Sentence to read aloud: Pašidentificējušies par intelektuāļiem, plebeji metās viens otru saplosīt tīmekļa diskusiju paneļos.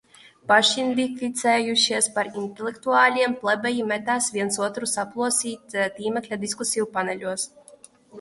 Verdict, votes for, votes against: rejected, 0, 2